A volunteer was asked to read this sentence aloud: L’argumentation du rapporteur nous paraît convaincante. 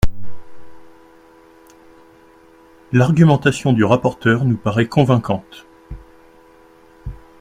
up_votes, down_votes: 2, 0